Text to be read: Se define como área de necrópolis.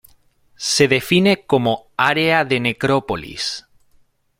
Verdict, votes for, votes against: accepted, 2, 1